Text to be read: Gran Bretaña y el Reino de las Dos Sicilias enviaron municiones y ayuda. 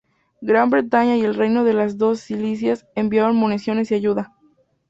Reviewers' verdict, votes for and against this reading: accepted, 4, 0